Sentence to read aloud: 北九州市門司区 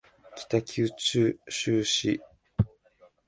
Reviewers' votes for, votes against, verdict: 1, 2, rejected